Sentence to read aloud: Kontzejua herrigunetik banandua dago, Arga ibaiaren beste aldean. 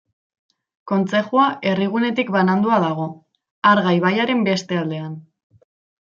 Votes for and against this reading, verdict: 2, 0, accepted